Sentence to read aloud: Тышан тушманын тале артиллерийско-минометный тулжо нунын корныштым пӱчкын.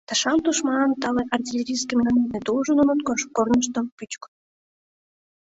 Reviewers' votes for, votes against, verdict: 2, 3, rejected